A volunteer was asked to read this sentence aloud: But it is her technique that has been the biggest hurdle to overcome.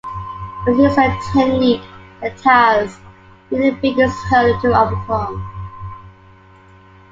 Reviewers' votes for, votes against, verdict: 1, 2, rejected